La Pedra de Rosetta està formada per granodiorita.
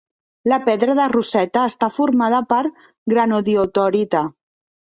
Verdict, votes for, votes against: rejected, 1, 2